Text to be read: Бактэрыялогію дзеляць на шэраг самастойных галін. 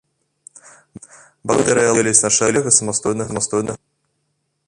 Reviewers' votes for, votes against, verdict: 0, 2, rejected